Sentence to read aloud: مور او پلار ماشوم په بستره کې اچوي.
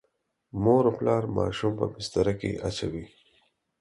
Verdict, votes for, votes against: accepted, 4, 0